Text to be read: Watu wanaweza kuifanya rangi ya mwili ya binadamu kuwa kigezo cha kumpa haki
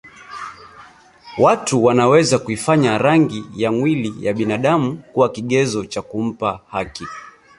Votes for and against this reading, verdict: 1, 2, rejected